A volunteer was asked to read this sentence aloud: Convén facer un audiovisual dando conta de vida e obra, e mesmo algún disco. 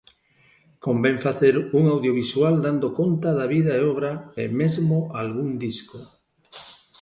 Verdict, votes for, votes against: rejected, 1, 3